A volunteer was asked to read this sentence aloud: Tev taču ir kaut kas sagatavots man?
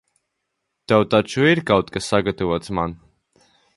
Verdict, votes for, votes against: accepted, 2, 0